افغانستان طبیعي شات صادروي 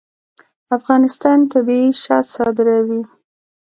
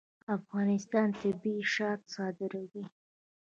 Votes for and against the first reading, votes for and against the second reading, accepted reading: 2, 0, 1, 2, first